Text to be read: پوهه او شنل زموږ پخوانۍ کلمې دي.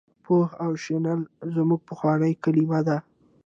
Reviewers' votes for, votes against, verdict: 2, 0, accepted